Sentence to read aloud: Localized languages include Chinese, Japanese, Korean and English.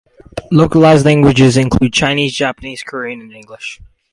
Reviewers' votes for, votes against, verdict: 0, 2, rejected